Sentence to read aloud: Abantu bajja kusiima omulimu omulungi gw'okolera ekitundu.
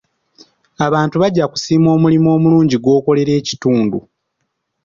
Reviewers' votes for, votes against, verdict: 2, 0, accepted